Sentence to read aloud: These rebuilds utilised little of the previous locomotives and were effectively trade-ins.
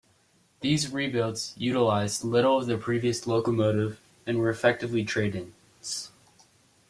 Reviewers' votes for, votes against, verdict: 2, 0, accepted